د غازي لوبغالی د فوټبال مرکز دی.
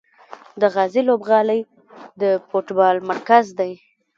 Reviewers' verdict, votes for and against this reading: rejected, 0, 2